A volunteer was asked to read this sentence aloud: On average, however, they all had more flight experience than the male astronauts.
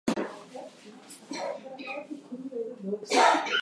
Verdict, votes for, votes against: rejected, 0, 4